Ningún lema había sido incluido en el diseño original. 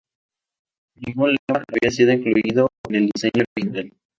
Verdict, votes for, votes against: rejected, 2, 2